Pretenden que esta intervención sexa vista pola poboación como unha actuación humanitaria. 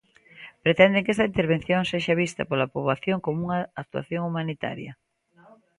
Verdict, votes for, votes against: rejected, 0, 2